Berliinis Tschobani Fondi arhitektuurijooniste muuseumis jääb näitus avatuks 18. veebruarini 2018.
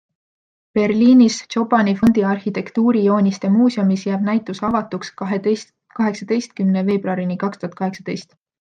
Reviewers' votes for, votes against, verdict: 0, 2, rejected